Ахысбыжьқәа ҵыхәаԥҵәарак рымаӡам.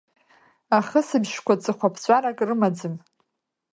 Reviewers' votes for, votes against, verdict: 2, 0, accepted